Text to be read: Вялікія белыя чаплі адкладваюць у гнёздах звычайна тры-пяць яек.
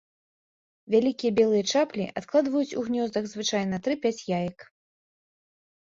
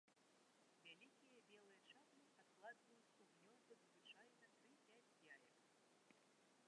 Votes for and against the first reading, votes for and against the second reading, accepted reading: 2, 0, 0, 2, first